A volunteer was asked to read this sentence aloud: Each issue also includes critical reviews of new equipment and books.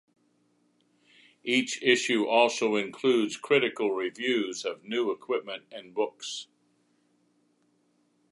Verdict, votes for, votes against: accepted, 2, 0